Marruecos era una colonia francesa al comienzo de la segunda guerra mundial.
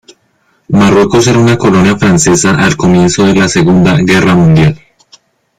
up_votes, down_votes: 2, 1